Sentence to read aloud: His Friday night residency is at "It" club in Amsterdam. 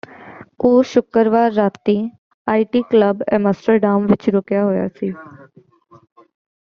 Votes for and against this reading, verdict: 0, 2, rejected